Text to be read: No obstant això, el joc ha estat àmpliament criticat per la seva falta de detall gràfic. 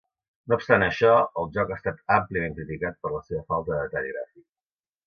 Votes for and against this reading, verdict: 2, 1, accepted